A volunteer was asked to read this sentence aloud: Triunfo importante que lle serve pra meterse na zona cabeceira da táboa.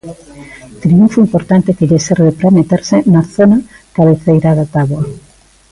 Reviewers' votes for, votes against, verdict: 0, 2, rejected